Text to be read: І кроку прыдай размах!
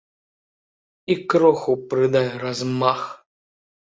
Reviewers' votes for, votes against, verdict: 0, 2, rejected